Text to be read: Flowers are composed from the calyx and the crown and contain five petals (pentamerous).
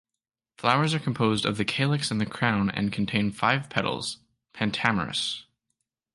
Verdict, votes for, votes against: accepted, 2, 0